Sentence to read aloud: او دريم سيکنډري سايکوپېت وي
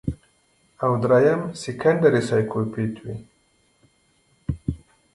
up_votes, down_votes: 1, 2